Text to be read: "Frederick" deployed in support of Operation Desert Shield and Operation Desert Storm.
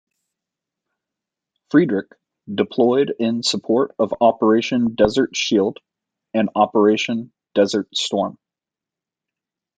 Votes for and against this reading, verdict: 2, 0, accepted